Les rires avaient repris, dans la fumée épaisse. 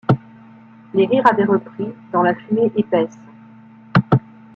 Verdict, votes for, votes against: accepted, 2, 0